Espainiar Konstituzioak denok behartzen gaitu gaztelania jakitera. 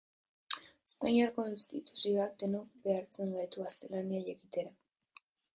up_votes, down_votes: 1, 2